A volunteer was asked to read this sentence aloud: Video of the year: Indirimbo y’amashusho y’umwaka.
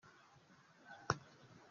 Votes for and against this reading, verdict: 0, 2, rejected